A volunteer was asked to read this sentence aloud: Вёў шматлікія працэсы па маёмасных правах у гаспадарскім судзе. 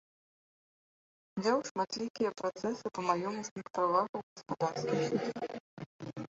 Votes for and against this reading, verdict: 0, 2, rejected